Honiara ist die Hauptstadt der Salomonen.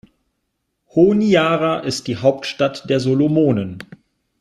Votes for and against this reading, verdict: 1, 3, rejected